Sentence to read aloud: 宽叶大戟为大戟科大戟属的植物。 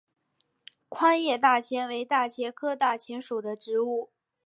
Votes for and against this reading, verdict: 2, 0, accepted